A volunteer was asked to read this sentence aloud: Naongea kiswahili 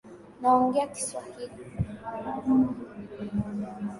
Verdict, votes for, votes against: accepted, 2, 1